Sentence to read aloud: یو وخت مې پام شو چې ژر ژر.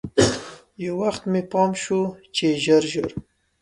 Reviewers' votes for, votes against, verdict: 1, 2, rejected